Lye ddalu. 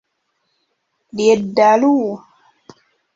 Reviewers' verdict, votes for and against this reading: rejected, 1, 2